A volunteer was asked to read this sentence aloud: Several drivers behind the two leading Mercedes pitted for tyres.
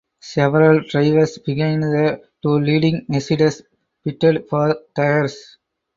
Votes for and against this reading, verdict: 2, 2, rejected